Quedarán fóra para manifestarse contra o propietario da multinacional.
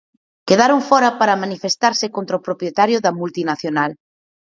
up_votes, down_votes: 4, 2